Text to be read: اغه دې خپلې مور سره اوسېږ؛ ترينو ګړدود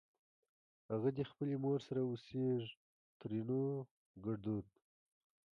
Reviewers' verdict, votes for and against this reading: rejected, 0, 2